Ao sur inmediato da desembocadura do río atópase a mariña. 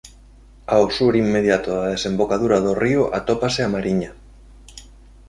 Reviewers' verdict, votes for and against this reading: accepted, 2, 1